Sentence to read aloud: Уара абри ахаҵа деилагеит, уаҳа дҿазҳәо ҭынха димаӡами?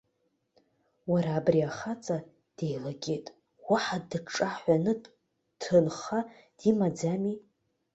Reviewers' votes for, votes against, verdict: 0, 2, rejected